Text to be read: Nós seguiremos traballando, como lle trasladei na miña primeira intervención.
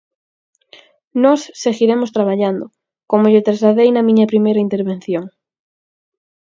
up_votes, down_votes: 4, 0